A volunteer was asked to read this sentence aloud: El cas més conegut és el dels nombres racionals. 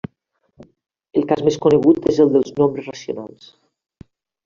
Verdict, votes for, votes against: rejected, 1, 2